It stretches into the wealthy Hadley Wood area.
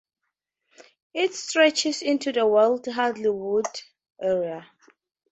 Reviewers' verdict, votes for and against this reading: accepted, 4, 0